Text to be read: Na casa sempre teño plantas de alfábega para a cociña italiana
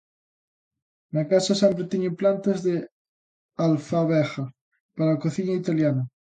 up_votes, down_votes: 0, 2